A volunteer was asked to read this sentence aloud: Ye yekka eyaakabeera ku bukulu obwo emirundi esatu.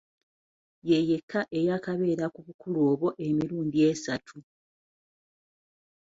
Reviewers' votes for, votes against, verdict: 2, 0, accepted